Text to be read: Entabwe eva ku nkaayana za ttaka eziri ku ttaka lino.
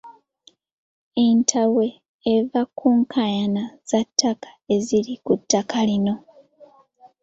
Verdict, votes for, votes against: accepted, 2, 0